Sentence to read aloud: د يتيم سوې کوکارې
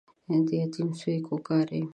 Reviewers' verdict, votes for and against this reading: accepted, 4, 0